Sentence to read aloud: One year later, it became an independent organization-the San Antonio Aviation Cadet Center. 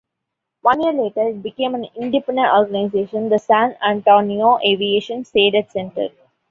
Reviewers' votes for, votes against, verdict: 0, 2, rejected